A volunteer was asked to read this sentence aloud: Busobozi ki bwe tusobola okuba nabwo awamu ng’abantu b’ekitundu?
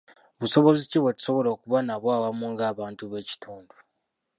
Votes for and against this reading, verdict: 0, 2, rejected